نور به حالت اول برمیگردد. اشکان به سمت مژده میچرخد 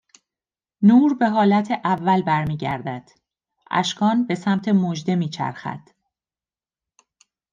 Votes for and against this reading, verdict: 2, 0, accepted